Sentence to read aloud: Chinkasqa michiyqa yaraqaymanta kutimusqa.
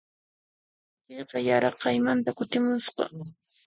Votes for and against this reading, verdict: 1, 2, rejected